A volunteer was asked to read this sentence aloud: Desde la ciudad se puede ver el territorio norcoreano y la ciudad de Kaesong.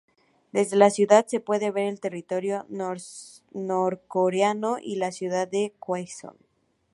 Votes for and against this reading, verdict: 0, 2, rejected